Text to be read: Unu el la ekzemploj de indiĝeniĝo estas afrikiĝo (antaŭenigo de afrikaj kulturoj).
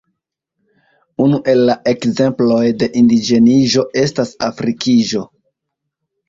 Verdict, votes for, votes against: accepted, 2, 1